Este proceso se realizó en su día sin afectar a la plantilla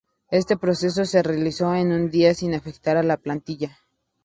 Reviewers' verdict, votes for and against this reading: accepted, 2, 0